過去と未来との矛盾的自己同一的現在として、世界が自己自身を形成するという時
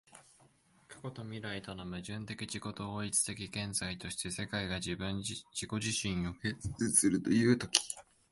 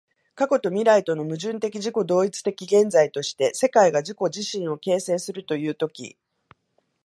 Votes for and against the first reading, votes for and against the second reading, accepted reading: 1, 2, 2, 0, second